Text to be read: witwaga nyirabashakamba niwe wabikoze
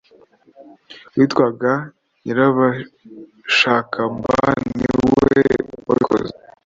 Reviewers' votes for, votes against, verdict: 1, 2, rejected